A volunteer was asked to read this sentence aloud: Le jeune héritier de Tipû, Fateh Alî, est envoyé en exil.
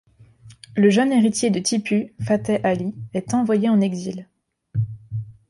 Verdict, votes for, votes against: accepted, 2, 0